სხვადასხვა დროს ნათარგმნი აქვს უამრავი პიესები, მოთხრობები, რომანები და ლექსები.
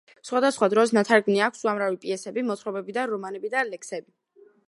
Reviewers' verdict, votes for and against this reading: rejected, 1, 2